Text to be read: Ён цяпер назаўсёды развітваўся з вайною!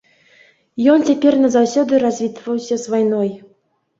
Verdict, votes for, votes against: rejected, 0, 2